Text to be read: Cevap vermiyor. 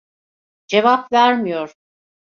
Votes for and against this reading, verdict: 2, 0, accepted